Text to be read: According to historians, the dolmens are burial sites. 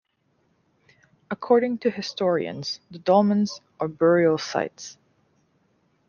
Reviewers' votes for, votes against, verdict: 2, 0, accepted